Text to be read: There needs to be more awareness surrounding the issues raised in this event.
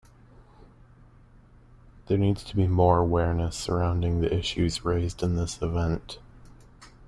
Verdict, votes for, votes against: accepted, 2, 0